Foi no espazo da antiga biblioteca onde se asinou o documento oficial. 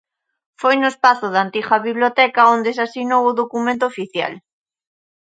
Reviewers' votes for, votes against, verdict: 2, 0, accepted